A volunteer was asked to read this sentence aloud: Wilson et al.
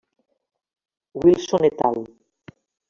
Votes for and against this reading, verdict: 1, 2, rejected